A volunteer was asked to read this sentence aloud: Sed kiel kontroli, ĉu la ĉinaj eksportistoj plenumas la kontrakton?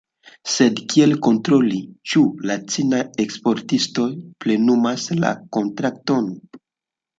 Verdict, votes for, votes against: rejected, 1, 2